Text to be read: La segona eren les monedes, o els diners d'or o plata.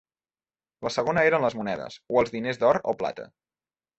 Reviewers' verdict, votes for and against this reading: accepted, 3, 0